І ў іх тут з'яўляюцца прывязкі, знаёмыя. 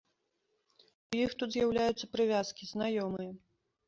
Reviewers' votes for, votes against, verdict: 2, 1, accepted